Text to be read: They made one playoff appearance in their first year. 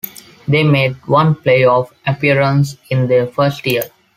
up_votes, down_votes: 2, 0